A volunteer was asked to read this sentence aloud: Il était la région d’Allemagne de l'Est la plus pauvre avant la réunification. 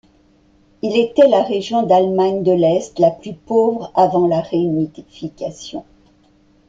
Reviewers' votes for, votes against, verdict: 2, 0, accepted